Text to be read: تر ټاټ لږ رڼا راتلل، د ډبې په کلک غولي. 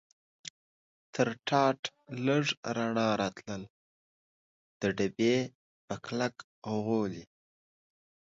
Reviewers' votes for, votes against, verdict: 2, 0, accepted